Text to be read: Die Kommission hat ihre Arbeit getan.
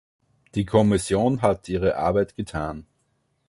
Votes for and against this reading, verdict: 2, 0, accepted